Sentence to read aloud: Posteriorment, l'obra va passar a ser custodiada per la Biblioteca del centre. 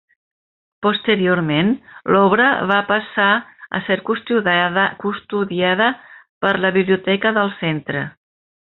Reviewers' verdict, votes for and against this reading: rejected, 0, 2